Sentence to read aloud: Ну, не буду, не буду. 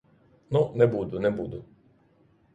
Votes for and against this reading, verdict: 0, 3, rejected